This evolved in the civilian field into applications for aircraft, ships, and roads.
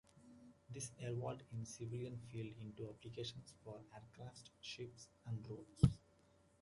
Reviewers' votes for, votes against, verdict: 0, 2, rejected